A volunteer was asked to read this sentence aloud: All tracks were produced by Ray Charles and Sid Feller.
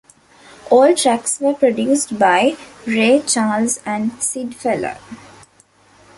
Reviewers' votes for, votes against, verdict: 2, 1, accepted